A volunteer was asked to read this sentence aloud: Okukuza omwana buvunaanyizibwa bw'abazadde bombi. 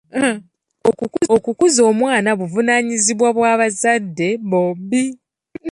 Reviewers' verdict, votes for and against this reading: rejected, 0, 2